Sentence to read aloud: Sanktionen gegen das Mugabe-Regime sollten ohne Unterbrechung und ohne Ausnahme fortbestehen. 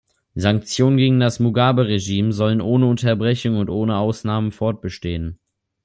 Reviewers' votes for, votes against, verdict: 0, 2, rejected